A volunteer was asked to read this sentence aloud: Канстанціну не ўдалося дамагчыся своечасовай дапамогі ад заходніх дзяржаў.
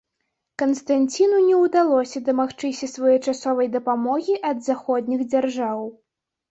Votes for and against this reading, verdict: 2, 0, accepted